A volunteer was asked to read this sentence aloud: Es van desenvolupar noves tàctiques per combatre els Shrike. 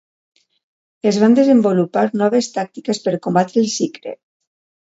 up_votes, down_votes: 0, 2